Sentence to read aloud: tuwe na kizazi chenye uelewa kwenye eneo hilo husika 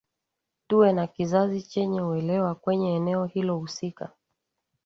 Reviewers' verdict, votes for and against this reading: accepted, 2, 0